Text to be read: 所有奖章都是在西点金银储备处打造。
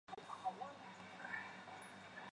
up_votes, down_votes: 0, 2